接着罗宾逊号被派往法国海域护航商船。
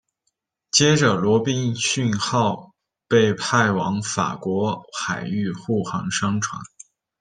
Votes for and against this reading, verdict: 0, 2, rejected